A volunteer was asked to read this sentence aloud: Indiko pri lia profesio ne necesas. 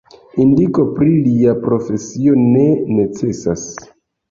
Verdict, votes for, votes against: accepted, 2, 1